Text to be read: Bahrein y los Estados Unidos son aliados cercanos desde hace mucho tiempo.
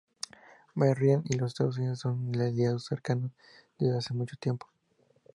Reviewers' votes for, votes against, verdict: 2, 0, accepted